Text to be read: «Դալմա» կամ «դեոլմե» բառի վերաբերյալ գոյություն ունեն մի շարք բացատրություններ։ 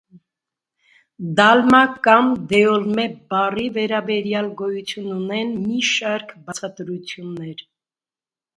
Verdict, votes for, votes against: accepted, 2, 0